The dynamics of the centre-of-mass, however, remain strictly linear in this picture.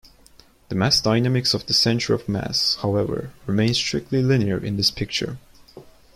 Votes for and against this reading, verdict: 0, 2, rejected